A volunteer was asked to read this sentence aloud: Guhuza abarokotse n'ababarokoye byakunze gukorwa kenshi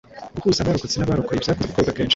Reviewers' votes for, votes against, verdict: 2, 0, accepted